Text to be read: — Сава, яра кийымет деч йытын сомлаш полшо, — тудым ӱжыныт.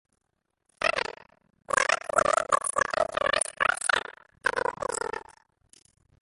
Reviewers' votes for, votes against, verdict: 0, 2, rejected